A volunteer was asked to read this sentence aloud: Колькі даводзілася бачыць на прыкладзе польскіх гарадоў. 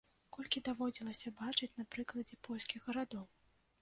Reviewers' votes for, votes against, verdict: 2, 0, accepted